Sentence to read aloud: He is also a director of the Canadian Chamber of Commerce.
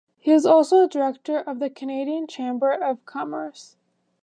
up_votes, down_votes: 2, 0